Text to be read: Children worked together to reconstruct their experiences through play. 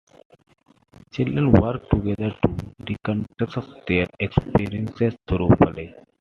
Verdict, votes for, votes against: accepted, 2, 1